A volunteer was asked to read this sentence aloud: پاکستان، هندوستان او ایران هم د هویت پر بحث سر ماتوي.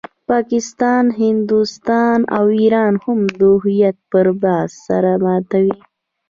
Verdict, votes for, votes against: accepted, 2, 1